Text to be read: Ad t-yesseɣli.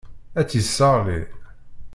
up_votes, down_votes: 1, 2